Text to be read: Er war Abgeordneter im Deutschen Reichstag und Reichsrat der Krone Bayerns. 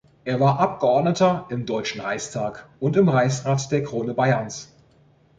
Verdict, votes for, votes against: rejected, 1, 3